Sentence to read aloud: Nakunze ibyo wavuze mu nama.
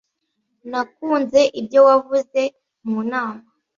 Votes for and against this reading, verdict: 2, 0, accepted